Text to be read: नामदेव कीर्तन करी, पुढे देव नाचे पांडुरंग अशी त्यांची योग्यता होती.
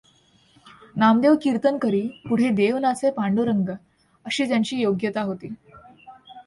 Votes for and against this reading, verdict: 2, 0, accepted